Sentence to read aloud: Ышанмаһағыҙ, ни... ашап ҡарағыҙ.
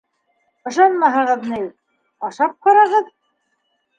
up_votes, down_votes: 2, 0